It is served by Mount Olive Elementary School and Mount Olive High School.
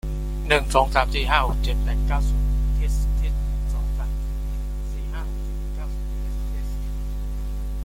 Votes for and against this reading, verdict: 0, 2, rejected